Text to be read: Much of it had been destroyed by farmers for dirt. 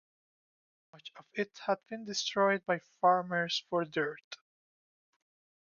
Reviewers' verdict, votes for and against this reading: rejected, 0, 2